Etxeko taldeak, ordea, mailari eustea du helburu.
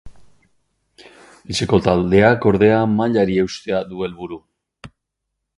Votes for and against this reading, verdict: 4, 0, accepted